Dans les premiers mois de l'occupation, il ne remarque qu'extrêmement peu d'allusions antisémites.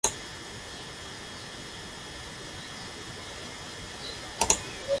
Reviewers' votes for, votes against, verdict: 0, 2, rejected